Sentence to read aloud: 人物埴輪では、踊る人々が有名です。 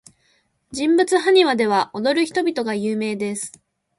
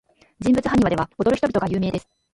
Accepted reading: first